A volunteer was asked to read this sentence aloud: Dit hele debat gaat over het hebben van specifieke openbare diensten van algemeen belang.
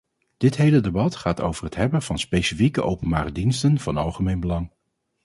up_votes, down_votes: 2, 0